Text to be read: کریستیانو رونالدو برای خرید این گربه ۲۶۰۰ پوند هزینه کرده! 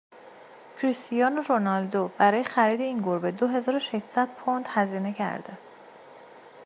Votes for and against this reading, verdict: 0, 2, rejected